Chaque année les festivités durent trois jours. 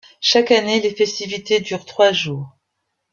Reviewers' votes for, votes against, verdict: 2, 0, accepted